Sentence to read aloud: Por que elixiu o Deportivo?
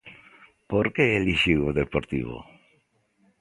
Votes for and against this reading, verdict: 2, 0, accepted